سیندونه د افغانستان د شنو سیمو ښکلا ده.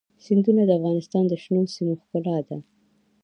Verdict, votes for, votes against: accepted, 2, 0